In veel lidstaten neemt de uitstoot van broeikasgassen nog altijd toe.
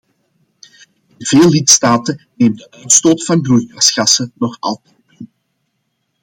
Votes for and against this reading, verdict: 1, 2, rejected